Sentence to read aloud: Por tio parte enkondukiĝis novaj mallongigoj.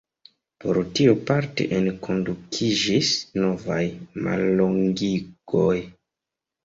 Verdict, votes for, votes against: accepted, 2, 0